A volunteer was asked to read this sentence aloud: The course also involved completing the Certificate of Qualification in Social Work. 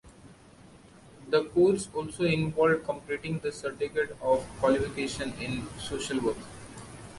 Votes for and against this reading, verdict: 0, 2, rejected